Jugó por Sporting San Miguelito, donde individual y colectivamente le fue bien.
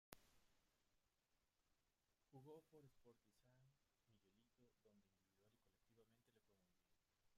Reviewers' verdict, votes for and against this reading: rejected, 1, 2